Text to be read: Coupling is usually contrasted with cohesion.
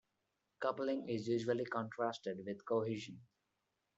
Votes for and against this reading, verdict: 1, 2, rejected